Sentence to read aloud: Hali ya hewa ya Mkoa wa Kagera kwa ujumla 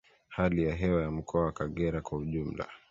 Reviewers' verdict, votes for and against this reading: accepted, 2, 0